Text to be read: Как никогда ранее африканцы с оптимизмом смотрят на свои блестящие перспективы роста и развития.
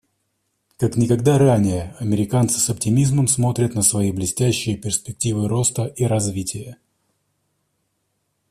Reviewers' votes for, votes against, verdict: 0, 2, rejected